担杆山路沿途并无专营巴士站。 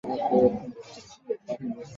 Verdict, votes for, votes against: rejected, 0, 2